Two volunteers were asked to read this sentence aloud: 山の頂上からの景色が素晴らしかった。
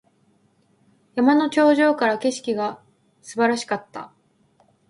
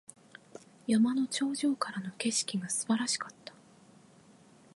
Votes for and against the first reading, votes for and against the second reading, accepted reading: 1, 2, 2, 0, second